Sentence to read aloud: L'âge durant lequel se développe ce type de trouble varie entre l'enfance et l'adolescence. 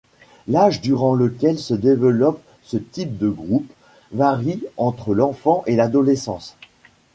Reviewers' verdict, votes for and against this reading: rejected, 0, 2